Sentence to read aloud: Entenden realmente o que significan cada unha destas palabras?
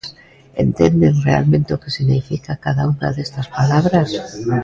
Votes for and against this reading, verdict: 0, 2, rejected